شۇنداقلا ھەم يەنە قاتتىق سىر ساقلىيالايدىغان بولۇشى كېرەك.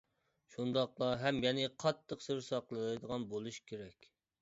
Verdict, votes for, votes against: rejected, 0, 2